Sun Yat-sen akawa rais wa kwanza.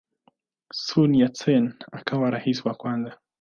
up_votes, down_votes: 2, 0